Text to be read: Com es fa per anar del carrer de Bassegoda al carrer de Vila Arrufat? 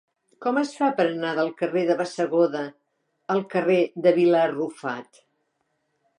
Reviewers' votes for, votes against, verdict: 2, 0, accepted